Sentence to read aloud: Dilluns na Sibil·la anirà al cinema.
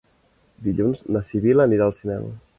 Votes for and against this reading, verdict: 1, 2, rejected